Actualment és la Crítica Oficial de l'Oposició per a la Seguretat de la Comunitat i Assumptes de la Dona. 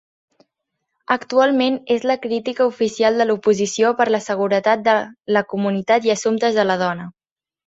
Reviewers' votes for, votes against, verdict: 2, 1, accepted